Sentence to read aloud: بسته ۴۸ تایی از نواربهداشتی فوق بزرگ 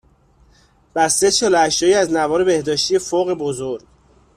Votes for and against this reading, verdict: 0, 2, rejected